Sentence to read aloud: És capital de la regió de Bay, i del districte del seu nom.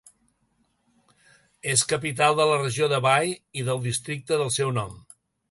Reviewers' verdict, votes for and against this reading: accepted, 2, 0